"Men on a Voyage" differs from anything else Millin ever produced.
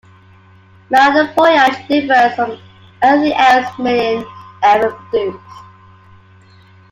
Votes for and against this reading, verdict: 2, 1, accepted